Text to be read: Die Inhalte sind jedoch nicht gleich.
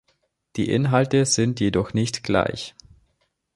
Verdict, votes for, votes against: accepted, 2, 0